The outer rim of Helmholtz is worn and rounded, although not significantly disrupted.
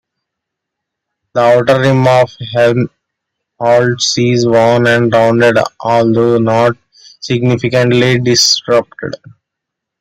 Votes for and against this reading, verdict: 1, 2, rejected